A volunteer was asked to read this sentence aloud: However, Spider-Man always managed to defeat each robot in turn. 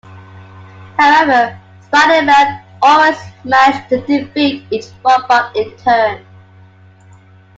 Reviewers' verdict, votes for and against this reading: accepted, 2, 1